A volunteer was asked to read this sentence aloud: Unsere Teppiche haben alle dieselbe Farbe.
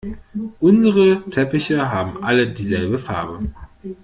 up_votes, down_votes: 2, 0